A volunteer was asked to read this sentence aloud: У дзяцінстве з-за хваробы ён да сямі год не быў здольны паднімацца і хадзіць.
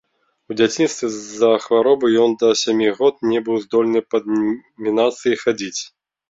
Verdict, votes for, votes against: rejected, 1, 2